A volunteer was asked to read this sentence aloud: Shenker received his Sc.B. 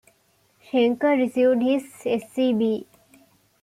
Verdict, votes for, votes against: accepted, 2, 0